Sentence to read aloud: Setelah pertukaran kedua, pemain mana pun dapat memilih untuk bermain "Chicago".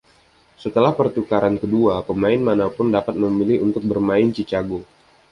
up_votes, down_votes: 2, 0